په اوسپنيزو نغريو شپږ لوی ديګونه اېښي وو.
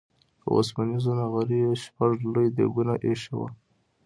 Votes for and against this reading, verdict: 2, 0, accepted